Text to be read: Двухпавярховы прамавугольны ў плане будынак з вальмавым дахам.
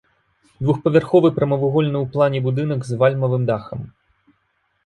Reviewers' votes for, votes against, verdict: 2, 0, accepted